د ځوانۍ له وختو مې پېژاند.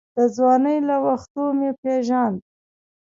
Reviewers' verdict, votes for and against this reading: accepted, 3, 0